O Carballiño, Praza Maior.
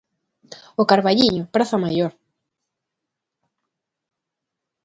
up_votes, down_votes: 2, 0